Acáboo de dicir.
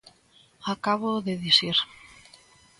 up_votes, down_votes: 2, 0